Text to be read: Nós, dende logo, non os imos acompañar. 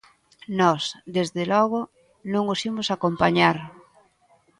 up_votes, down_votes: 1, 2